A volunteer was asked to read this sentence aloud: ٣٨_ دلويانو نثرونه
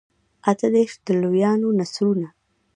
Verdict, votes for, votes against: rejected, 0, 2